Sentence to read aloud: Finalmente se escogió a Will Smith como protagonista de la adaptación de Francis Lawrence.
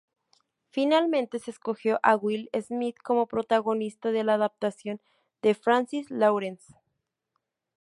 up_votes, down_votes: 2, 0